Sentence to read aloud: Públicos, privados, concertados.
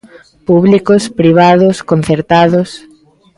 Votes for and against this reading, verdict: 2, 0, accepted